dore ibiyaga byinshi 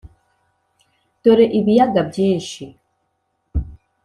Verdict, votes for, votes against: accepted, 3, 0